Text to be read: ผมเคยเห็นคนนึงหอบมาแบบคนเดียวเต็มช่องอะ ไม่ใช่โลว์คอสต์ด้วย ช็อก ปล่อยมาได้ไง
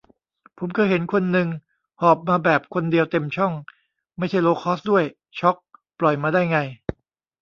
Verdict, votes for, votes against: rejected, 1, 2